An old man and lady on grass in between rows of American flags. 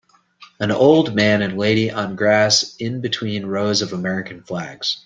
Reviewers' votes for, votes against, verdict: 2, 0, accepted